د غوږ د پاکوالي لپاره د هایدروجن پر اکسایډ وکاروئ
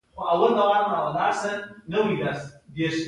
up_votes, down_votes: 2, 1